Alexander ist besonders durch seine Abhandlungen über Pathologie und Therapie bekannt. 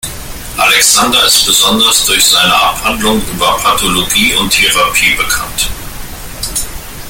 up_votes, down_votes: 0, 2